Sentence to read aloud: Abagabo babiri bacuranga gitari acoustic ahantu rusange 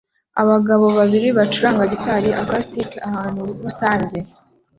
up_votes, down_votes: 2, 0